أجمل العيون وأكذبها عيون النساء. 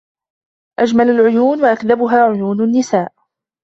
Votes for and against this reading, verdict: 2, 0, accepted